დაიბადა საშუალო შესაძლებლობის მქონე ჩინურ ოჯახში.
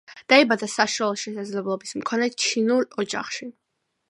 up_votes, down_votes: 2, 1